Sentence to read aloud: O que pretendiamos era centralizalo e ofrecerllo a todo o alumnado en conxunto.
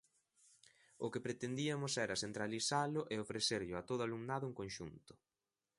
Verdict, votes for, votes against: rejected, 0, 2